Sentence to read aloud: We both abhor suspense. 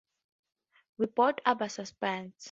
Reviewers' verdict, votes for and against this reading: accepted, 4, 0